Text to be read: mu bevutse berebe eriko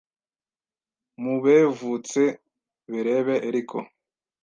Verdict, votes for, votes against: rejected, 1, 2